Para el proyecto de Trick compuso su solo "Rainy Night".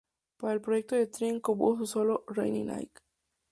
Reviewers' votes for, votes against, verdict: 0, 2, rejected